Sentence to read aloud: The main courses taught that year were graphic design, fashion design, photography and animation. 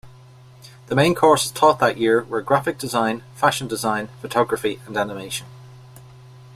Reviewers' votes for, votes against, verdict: 1, 2, rejected